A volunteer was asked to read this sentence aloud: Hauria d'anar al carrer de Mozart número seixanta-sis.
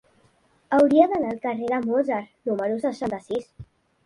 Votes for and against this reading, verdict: 0, 2, rejected